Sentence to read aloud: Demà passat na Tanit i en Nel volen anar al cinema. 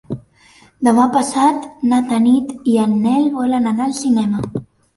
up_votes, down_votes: 2, 0